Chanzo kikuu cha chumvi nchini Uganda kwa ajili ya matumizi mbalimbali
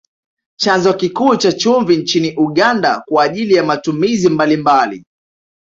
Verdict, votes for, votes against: accepted, 2, 0